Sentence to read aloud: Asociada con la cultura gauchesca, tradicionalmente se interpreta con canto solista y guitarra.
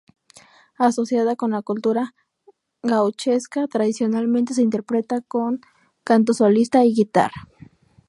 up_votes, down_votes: 2, 0